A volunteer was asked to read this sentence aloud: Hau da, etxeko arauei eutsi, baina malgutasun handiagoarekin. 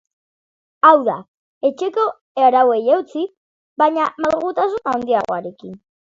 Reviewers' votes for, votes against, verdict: 4, 0, accepted